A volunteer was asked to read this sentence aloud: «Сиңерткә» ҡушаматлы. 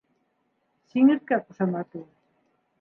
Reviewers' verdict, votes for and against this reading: accepted, 3, 1